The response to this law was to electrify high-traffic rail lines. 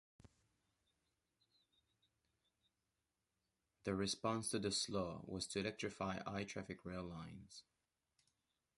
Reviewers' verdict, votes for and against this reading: rejected, 0, 2